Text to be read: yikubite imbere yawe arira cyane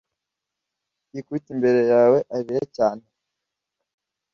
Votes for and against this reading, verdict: 2, 0, accepted